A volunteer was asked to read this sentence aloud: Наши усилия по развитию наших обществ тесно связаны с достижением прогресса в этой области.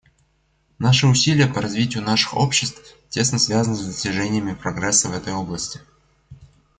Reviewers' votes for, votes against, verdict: 1, 2, rejected